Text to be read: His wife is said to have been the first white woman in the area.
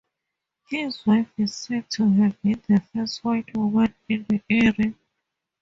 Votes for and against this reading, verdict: 2, 0, accepted